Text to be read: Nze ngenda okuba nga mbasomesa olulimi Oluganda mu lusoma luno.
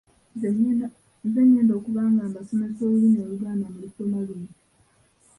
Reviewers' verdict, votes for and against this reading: rejected, 0, 2